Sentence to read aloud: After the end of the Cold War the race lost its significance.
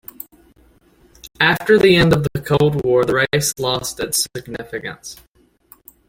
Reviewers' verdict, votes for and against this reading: accepted, 2, 0